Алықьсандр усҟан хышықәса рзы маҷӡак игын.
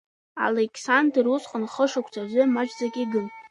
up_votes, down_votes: 0, 2